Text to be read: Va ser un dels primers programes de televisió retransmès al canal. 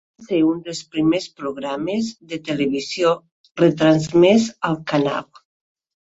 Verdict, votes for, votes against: rejected, 0, 2